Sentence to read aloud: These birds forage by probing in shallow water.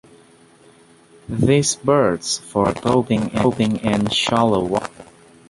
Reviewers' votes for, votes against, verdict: 1, 2, rejected